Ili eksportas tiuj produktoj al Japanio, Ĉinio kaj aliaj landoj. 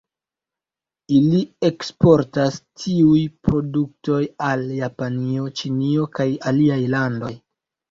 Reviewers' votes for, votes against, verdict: 1, 2, rejected